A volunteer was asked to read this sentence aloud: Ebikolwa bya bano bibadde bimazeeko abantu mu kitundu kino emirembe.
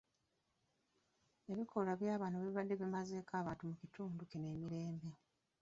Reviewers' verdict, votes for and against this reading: rejected, 0, 2